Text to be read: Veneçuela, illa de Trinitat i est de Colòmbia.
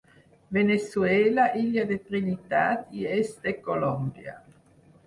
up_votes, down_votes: 4, 0